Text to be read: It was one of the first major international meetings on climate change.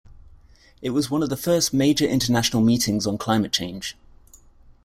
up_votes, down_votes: 2, 0